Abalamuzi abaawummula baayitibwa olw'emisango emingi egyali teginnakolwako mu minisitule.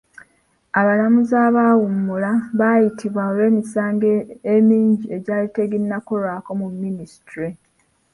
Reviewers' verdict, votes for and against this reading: rejected, 1, 2